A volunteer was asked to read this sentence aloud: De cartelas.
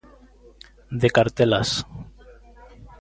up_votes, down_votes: 3, 0